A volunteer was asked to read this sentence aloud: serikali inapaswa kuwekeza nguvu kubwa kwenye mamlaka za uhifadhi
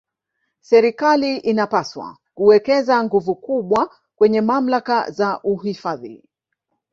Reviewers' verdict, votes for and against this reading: rejected, 1, 2